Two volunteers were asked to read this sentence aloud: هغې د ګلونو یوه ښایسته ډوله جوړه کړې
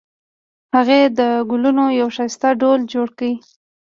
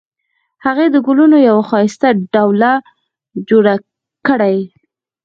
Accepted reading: first